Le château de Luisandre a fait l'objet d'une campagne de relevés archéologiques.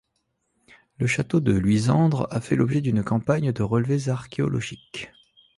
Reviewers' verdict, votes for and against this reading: accepted, 2, 0